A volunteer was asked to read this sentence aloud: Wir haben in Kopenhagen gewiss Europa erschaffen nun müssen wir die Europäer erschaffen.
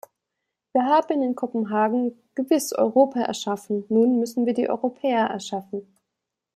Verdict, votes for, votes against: accepted, 2, 0